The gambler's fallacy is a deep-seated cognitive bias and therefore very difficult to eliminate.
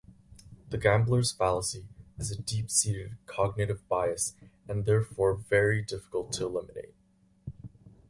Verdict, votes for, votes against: rejected, 2, 2